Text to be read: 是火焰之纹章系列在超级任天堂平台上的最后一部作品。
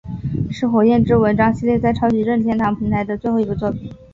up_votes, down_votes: 4, 2